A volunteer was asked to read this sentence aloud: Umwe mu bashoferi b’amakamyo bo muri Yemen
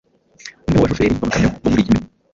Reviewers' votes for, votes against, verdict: 2, 0, accepted